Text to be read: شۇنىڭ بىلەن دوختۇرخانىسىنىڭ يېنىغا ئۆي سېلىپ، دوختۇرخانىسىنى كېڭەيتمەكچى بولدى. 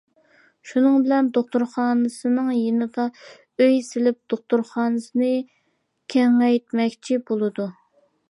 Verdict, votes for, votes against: rejected, 0, 2